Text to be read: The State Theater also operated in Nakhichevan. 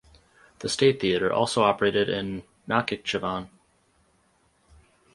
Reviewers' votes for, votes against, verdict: 4, 0, accepted